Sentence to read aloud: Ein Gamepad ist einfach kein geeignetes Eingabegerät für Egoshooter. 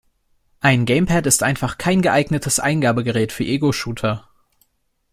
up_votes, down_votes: 2, 0